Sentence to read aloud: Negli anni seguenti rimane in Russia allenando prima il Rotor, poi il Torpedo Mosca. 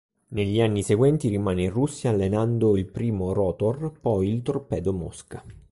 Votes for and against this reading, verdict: 2, 3, rejected